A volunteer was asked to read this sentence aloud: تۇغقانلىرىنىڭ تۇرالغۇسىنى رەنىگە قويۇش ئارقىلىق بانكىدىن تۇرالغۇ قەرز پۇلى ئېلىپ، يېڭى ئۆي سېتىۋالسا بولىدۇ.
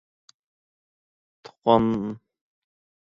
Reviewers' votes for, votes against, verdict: 0, 2, rejected